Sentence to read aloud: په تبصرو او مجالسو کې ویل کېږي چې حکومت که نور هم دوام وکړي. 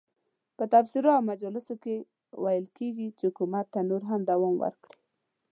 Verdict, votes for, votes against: rejected, 0, 2